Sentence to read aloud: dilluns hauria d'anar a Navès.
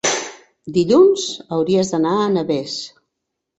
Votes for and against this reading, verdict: 0, 2, rejected